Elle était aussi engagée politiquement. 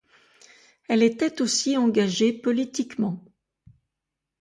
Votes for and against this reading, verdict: 2, 0, accepted